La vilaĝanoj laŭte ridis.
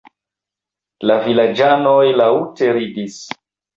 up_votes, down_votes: 1, 2